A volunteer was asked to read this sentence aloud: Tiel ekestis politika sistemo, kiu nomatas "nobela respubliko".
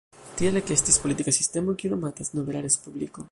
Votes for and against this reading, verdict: 1, 2, rejected